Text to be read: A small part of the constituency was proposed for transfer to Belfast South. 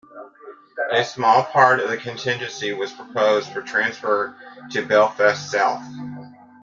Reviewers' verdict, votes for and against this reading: accepted, 2, 0